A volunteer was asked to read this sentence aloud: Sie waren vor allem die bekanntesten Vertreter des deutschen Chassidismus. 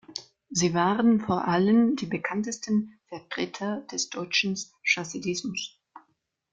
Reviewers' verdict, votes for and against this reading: accepted, 2, 1